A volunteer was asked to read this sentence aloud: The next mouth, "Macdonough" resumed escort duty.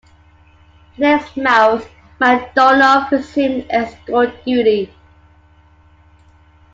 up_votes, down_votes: 1, 2